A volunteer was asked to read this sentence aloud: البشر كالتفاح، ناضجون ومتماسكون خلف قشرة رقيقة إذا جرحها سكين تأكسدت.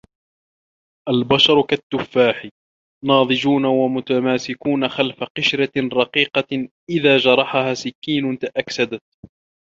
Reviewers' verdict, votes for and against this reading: accepted, 2, 0